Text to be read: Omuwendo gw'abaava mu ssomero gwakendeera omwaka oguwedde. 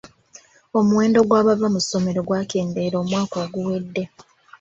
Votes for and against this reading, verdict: 0, 2, rejected